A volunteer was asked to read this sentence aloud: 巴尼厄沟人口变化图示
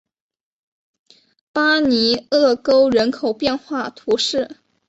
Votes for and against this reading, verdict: 5, 0, accepted